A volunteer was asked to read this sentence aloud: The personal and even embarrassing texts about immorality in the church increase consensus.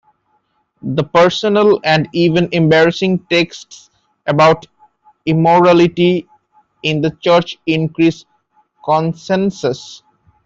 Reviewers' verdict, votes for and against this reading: accepted, 2, 1